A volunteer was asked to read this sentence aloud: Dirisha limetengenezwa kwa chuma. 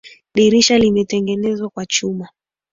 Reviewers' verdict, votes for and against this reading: accepted, 3, 0